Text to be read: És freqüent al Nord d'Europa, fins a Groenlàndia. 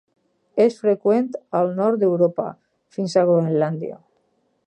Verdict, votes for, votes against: accepted, 6, 0